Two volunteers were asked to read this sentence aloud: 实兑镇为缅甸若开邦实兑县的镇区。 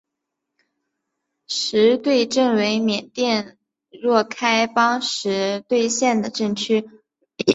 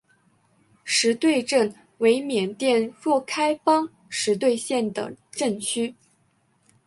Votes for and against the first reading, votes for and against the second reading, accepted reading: 0, 2, 2, 0, second